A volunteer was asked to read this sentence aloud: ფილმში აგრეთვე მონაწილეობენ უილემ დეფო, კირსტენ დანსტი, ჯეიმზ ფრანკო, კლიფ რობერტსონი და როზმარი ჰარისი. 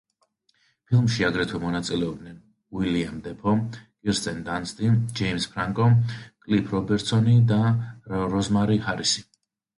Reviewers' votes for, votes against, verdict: 1, 2, rejected